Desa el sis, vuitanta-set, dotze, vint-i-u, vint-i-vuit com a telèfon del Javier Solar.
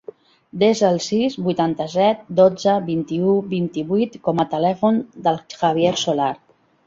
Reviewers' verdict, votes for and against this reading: accepted, 3, 0